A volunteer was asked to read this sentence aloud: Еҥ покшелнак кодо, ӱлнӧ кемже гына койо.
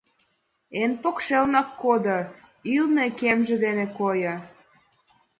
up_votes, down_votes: 1, 2